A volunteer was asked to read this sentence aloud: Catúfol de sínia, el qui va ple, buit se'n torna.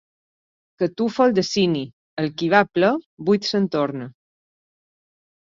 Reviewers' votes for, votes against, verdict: 0, 2, rejected